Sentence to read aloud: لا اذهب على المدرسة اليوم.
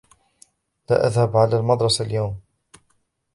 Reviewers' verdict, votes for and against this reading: accepted, 2, 0